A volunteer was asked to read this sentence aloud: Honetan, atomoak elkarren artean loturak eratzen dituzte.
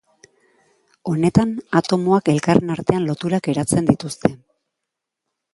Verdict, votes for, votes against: accepted, 2, 0